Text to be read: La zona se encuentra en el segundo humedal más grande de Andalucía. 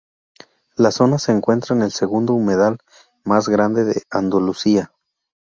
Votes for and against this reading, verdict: 0, 2, rejected